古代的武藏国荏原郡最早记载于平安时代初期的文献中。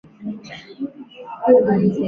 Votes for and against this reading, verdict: 0, 6, rejected